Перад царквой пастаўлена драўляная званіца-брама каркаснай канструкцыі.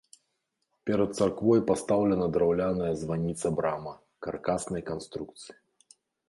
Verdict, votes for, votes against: accepted, 2, 0